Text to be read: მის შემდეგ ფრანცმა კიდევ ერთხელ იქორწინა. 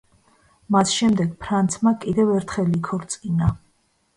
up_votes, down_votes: 1, 2